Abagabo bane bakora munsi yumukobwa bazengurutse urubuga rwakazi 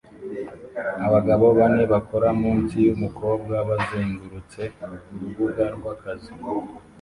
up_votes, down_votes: 2, 0